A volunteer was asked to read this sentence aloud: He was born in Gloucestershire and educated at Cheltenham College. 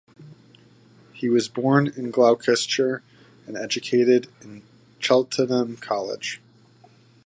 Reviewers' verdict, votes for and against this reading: rejected, 4, 6